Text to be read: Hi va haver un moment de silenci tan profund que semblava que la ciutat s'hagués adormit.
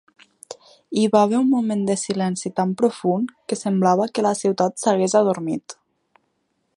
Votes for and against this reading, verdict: 4, 0, accepted